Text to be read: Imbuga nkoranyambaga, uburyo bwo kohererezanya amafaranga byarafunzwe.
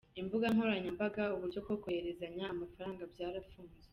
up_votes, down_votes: 3, 0